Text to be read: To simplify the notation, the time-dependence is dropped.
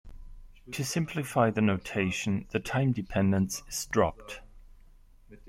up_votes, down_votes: 2, 0